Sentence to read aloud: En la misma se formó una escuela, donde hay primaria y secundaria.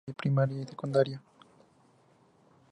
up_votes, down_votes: 0, 2